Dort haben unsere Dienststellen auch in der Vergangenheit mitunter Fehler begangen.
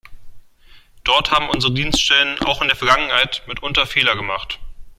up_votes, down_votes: 1, 2